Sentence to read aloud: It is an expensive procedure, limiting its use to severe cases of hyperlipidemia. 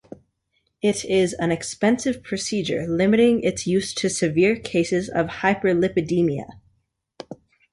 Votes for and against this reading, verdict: 2, 0, accepted